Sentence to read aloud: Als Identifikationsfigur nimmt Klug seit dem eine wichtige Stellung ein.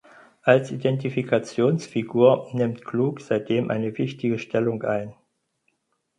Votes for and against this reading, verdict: 4, 0, accepted